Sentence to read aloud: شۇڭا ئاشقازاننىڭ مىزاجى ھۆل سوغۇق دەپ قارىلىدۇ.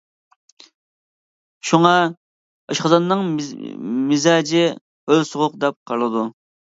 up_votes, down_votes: 0, 2